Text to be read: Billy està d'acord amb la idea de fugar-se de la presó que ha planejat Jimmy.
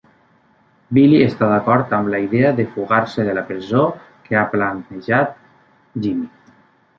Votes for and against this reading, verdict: 2, 0, accepted